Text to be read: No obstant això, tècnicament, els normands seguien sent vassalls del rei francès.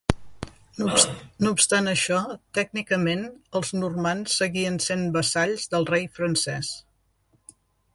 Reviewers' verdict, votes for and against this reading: rejected, 1, 2